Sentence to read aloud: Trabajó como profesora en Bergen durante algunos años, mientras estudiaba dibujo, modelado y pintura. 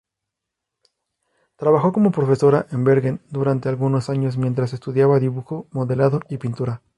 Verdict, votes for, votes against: accepted, 2, 0